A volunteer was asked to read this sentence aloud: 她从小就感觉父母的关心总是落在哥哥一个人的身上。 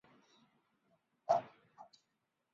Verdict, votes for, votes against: rejected, 0, 2